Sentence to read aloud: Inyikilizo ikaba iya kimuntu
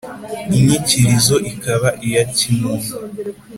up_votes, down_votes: 3, 0